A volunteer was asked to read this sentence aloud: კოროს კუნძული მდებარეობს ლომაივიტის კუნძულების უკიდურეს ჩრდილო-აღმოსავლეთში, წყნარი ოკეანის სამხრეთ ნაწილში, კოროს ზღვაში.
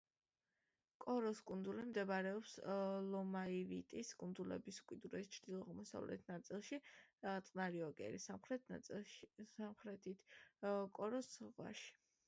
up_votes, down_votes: 0, 2